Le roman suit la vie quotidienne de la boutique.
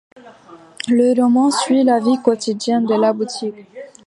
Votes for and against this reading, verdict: 2, 0, accepted